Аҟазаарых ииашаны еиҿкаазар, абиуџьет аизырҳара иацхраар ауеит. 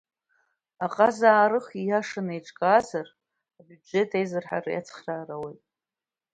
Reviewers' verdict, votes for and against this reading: rejected, 0, 2